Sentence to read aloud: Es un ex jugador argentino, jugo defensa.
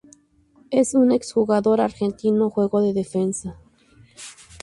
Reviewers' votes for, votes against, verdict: 2, 0, accepted